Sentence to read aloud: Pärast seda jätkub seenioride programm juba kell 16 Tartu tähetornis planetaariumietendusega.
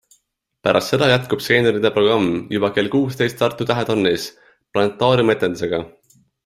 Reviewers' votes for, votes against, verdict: 0, 2, rejected